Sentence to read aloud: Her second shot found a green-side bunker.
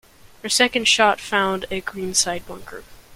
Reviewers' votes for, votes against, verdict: 2, 0, accepted